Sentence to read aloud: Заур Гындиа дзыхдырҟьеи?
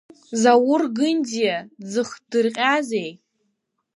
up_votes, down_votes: 1, 2